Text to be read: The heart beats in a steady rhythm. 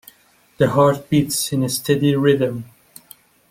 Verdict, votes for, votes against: accepted, 2, 0